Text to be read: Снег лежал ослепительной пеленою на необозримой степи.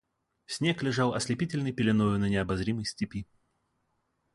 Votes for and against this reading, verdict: 2, 0, accepted